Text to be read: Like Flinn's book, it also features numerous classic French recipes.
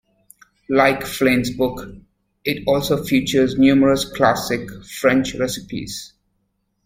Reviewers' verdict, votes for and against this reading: accepted, 2, 0